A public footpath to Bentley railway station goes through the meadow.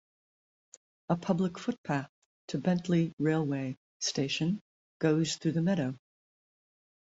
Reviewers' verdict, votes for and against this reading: accepted, 2, 0